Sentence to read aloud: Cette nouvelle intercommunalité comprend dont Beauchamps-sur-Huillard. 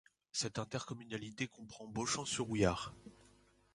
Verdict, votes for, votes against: rejected, 0, 2